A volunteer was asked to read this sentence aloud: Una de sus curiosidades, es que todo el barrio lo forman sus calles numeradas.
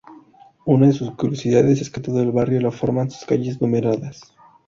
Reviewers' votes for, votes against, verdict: 0, 2, rejected